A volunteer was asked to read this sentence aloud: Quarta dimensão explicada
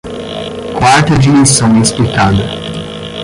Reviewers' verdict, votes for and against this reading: rejected, 5, 15